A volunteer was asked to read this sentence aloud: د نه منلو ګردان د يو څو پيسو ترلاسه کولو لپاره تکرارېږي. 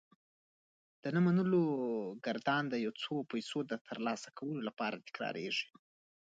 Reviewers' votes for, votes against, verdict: 2, 1, accepted